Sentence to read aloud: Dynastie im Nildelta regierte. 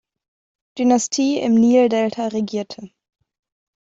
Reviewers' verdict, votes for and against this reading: accepted, 3, 0